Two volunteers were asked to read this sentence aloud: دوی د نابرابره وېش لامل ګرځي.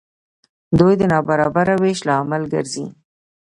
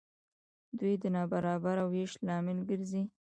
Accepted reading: first